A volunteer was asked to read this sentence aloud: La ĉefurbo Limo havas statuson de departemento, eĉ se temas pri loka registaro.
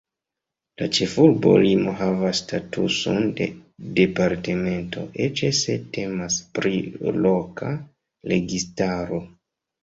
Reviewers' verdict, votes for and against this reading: accepted, 2, 0